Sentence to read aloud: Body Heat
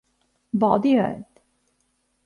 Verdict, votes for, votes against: rejected, 1, 2